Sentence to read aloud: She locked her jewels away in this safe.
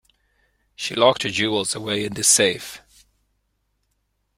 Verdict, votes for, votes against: accepted, 2, 0